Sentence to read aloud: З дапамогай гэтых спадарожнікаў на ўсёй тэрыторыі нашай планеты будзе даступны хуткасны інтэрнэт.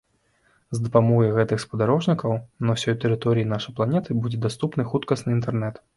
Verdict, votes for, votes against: accepted, 2, 0